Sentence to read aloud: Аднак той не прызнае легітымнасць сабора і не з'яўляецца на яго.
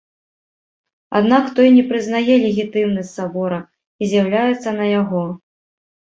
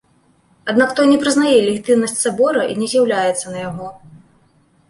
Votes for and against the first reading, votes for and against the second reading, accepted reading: 0, 2, 2, 0, second